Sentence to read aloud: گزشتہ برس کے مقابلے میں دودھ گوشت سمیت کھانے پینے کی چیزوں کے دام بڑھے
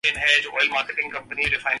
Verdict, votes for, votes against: rejected, 0, 2